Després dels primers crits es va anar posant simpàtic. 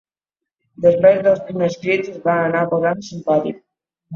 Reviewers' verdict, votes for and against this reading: rejected, 0, 2